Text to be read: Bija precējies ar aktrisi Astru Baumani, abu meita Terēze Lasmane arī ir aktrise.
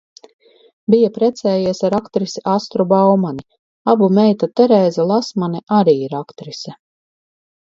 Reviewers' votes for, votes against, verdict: 2, 0, accepted